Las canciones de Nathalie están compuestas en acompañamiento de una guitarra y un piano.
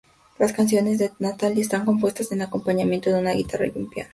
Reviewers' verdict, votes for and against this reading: accepted, 2, 0